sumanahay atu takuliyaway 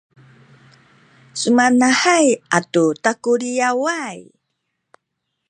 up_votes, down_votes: 1, 2